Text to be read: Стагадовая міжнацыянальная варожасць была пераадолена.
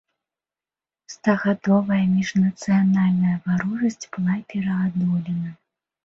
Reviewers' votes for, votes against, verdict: 0, 2, rejected